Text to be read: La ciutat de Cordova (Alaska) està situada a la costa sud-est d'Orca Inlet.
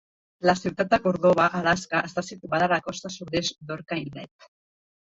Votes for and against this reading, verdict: 1, 2, rejected